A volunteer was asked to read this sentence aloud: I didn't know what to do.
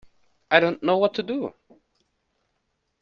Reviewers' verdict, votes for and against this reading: rejected, 0, 2